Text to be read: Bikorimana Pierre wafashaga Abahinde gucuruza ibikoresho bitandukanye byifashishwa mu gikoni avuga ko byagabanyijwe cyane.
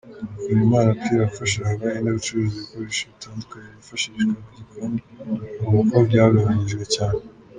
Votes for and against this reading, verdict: 1, 2, rejected